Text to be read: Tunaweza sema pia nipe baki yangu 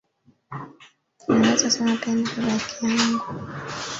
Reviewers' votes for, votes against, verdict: 0, 2, rejected